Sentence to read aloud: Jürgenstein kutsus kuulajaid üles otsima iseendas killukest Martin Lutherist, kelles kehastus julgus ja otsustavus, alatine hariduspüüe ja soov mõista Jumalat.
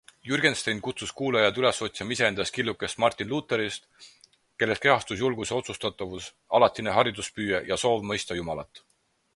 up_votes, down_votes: 4, 0